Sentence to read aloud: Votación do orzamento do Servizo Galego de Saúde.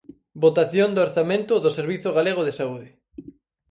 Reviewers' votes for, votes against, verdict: 4, 0, accepted